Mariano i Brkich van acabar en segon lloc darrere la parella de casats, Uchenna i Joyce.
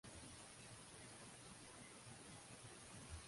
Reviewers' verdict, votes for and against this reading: rejected, 0, 2